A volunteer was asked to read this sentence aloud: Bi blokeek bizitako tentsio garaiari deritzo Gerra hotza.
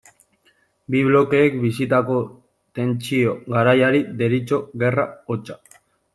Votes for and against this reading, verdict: 1, 2, rejected